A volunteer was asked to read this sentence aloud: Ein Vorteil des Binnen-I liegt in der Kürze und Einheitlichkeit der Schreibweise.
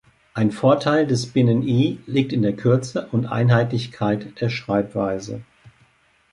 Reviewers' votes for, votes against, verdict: 2, 0, accepted